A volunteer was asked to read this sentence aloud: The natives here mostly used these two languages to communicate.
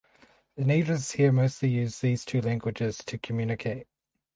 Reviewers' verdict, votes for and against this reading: accepted, 4, 0